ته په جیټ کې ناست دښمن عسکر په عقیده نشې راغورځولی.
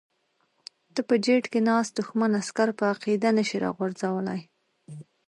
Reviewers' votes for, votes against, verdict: 2, 1, accepted